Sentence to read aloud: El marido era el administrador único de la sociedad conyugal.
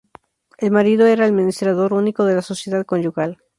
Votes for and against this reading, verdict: 4, 0, accepted